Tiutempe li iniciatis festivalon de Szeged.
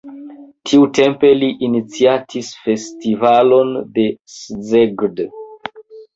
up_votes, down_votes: 1, 2